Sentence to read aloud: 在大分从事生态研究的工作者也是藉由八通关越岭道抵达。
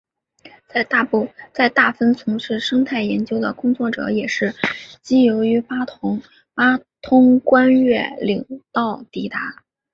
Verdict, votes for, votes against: accepted, 7, 1